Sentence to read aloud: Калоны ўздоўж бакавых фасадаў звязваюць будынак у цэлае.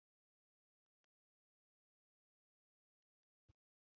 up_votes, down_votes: 0, 2